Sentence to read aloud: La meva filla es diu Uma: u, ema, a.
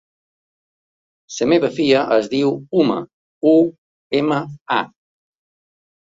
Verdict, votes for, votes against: rejected, 0, 3